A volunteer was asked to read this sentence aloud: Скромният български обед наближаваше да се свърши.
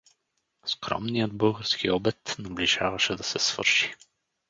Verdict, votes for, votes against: rejected, 2, 2